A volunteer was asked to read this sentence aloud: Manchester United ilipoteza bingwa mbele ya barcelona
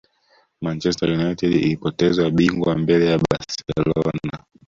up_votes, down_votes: 0, 2